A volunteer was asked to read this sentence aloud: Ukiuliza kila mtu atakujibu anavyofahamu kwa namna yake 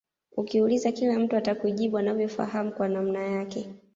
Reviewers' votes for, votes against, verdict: 1, 2, rejected